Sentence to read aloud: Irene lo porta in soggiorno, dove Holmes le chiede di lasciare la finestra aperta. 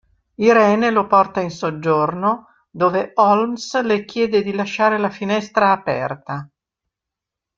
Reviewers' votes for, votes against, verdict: 2, 0, accepted